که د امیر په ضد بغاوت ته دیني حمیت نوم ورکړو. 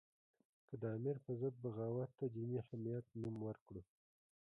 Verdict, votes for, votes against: accepted, 2, 0